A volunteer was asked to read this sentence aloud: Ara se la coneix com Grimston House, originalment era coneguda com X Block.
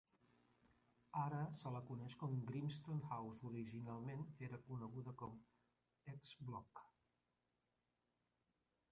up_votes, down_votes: 0, 2